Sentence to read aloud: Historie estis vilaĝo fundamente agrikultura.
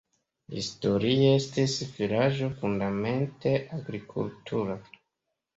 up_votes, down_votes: 2, 0